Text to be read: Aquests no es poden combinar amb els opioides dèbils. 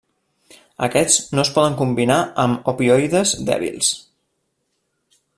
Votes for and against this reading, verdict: 0, 2, rejected